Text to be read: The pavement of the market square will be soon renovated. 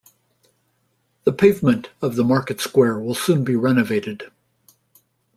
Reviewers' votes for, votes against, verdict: 0, 2, rejected